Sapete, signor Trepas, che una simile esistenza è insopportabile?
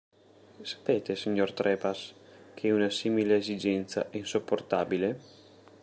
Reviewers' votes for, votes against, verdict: 1, 2, rejected